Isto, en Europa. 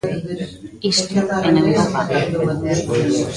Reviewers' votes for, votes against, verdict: 1, 2, rejected